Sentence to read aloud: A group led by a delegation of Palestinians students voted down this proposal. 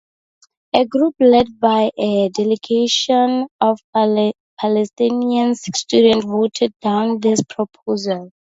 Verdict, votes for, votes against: accepted, 4, 0